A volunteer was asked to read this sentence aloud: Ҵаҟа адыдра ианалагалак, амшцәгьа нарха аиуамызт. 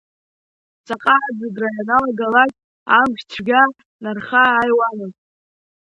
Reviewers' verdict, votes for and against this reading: rejected, 1, 2